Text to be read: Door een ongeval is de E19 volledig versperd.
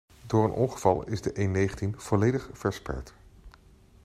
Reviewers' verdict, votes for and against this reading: rejected, 0, 2